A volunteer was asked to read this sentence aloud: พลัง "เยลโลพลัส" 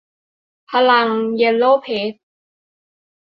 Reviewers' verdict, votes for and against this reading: rejected, 0, 2